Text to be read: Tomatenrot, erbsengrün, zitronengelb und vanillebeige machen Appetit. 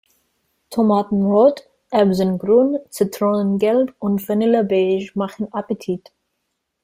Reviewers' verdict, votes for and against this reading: accepted, 2, 0